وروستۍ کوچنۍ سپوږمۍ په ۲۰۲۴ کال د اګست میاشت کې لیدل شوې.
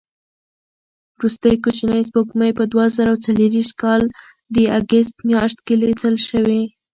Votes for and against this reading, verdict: 0, 2, rejected